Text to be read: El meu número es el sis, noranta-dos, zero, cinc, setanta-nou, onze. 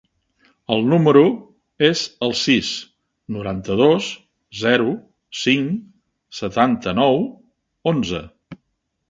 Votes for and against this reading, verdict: 1, 2, rejected